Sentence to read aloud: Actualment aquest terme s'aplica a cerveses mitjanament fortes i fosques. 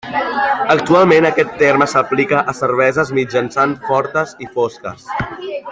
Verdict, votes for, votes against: rejected, 0, 2